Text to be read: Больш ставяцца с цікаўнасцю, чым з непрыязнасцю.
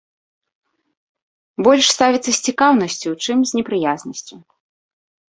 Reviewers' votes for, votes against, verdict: 2, 0, accepted